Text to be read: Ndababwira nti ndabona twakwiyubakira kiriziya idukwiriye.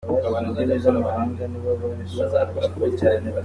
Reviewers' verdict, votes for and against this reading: rejected, 0, 2